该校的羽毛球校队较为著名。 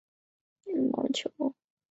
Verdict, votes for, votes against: rejected, 0, 6